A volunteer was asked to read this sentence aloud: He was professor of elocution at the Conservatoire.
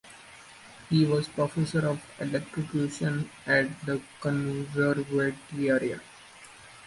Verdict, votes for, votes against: rejected, 1, 2